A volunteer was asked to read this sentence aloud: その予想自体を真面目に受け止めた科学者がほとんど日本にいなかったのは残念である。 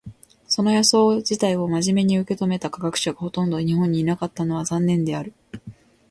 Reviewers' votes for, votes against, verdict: 2, 0, accepted